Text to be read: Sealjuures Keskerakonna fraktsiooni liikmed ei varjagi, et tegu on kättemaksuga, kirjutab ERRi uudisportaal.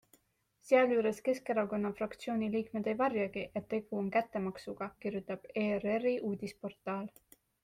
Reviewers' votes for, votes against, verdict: 2, 0, accepted